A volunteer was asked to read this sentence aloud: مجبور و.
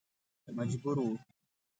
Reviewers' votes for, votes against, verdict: 2, 0, accepted